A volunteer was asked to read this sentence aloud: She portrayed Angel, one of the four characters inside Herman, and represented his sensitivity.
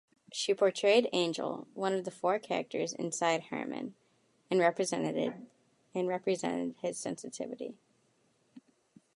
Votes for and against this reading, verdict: 0, 2, rejected